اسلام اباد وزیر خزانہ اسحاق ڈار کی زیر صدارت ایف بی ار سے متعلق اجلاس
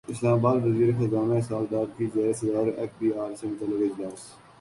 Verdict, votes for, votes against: accepted, 2, 0